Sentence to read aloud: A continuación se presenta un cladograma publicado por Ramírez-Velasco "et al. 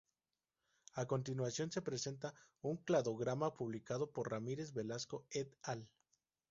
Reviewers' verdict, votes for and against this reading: rejected, 0, 2